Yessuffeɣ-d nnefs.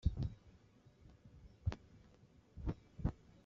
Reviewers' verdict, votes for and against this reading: rejected, 0, 2